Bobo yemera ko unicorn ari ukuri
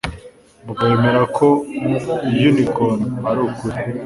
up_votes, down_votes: 3, 0